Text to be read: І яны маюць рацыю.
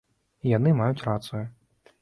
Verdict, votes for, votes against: accepted, 2, 1